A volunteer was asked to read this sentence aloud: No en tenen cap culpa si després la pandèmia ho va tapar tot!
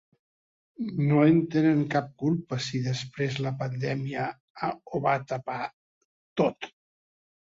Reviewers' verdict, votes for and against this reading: rejected, 1, 2